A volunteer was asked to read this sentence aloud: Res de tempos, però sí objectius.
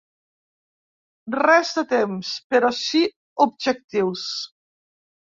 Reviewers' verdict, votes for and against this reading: rejected, 0, 2